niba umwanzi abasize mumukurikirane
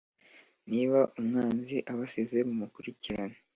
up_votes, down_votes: 2, 0